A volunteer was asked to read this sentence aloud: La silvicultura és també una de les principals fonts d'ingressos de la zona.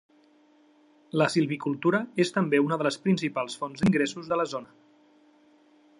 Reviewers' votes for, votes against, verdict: 3, 0, accepted